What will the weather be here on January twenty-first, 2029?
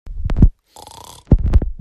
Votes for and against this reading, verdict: 0, 2, rejected